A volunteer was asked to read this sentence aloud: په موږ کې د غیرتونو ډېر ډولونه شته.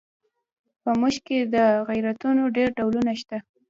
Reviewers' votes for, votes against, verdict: 2, 0, accepted